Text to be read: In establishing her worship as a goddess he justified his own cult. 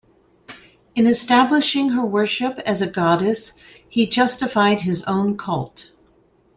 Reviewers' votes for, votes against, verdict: 2, 0, accepted